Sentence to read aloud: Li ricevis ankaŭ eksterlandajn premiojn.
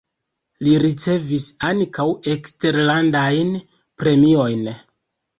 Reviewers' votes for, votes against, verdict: 2, 0, accepted